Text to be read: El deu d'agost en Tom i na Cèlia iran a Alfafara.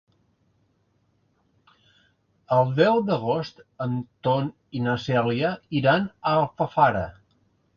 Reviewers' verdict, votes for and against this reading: rejected, 0, 2